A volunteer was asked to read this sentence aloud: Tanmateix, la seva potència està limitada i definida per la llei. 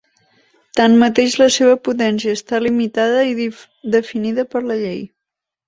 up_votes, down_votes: 1, 4